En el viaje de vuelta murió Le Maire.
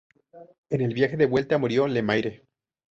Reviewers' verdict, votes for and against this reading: rejected, 0, 2